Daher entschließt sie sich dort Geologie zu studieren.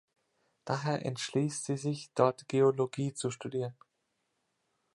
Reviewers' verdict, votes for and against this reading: rejected, 1, 2